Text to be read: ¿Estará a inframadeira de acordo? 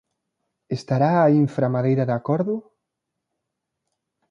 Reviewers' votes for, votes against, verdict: 2, 0, accepted